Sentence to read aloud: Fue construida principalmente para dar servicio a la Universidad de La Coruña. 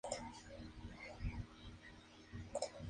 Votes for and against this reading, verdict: 0, 2, rejected